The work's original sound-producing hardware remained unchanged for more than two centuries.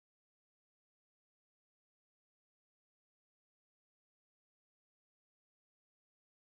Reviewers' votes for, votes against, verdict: 0, 2, rejected